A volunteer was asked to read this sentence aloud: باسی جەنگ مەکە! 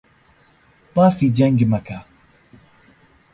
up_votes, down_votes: 2, 0